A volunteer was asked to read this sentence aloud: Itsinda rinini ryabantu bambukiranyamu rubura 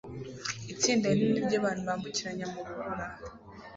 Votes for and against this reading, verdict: 2, 0, accepted